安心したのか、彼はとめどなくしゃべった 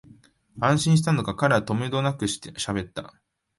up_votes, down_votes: 1, 2